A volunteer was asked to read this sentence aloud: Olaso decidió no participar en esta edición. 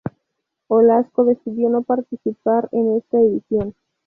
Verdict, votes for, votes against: rejected, 0, 2